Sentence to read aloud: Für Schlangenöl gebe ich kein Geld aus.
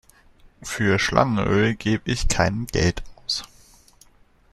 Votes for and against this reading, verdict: 1, 2, rejected